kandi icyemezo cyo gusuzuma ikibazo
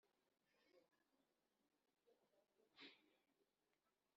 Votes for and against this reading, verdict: 0, 2, rejected